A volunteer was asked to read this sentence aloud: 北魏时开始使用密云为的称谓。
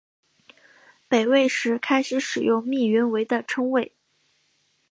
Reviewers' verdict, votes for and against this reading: accepted, 7, 0